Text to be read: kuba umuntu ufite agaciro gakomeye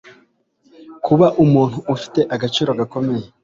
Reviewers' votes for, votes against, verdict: 2, 0, accepted